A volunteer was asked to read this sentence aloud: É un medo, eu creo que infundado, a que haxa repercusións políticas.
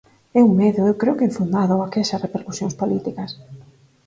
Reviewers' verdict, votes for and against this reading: accepted, 6, 0